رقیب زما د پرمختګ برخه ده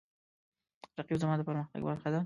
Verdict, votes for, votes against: rejected, 1, 2